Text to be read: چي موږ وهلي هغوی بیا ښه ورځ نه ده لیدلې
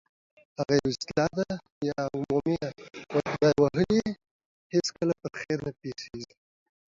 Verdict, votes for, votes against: rejected, 0, 2